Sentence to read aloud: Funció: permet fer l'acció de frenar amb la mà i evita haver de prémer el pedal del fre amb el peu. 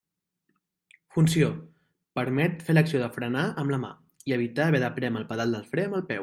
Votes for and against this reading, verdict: 0, 2, rejected